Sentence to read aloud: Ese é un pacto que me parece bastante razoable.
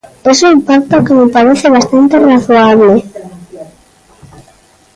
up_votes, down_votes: 0, 2